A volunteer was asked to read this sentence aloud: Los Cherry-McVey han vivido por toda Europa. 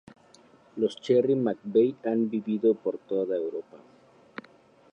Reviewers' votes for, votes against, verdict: 2, 4, rejected